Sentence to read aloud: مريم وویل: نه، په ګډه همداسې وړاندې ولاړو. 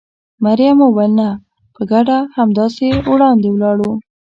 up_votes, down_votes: 1, 2